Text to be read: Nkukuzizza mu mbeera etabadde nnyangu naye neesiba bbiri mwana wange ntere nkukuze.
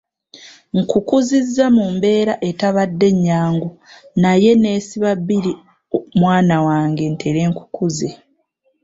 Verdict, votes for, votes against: accepted, 3, 0